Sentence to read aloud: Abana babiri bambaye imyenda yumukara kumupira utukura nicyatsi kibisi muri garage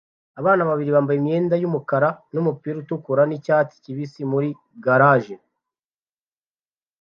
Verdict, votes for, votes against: accepted, 2, 0